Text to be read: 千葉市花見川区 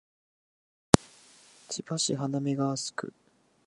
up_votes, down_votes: 1, 2